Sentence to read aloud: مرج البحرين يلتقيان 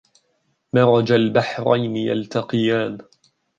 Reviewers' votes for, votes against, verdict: 0, 2, rejected